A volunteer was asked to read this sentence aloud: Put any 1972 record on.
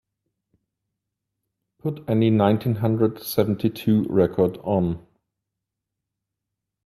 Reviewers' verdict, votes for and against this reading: rejected, 0, 2